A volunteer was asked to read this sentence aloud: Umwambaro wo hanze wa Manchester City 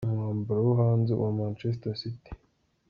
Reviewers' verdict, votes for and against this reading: accepted, 2, 0